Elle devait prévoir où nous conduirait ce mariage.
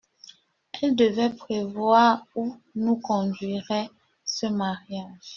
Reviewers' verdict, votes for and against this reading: accepted, 2, 0